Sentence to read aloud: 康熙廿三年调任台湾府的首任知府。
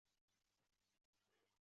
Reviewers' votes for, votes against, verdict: 1, 2, rejected